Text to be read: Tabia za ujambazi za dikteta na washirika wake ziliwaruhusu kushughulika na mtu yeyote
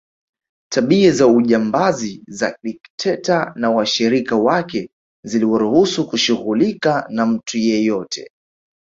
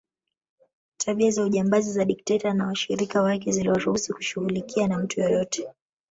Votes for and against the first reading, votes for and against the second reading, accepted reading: 3, 0, 1, 2, first